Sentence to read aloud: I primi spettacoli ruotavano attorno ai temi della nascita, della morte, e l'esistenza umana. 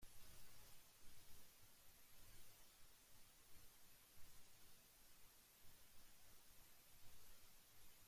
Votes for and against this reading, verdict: 1, 2, rejected